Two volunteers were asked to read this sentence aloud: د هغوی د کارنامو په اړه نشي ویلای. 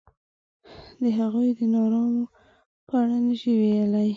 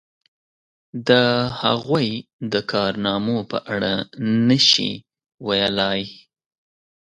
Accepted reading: second